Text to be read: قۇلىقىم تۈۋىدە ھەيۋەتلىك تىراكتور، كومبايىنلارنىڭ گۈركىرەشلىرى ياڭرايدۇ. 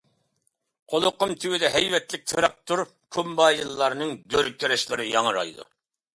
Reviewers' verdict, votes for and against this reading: rejected, 0, 2